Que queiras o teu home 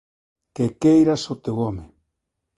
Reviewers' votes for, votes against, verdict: 1, 2, rejected